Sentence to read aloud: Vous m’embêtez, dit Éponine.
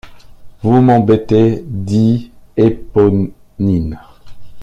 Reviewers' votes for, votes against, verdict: 0, 2, rejected